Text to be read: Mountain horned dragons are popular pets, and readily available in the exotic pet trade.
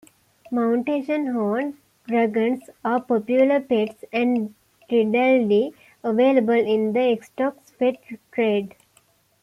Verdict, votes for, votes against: rejected, 1, 2